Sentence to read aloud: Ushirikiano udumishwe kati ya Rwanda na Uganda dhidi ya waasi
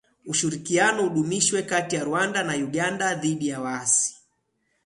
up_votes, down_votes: 9, 1